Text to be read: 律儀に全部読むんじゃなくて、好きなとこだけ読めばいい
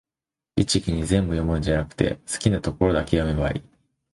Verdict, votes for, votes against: rejected, 0, 2